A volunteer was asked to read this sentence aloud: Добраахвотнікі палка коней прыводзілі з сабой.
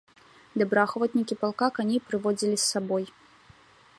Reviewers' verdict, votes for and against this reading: rejected, 1, 2